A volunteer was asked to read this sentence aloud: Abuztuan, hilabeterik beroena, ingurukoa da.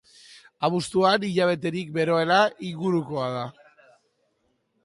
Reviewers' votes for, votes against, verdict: 4, 0, accepted